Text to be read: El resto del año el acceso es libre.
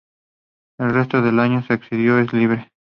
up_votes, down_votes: 0, 2